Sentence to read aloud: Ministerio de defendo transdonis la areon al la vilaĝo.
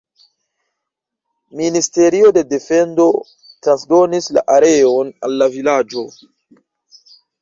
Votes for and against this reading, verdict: 1, 2, rejected